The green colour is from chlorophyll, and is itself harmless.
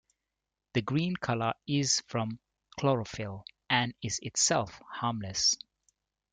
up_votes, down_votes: 2, 1